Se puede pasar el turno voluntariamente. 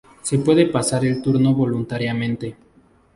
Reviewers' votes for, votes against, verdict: 2, 0, accepted